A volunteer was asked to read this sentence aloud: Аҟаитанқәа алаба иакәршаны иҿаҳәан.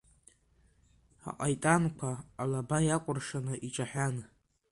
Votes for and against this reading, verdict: 1, 2, rejected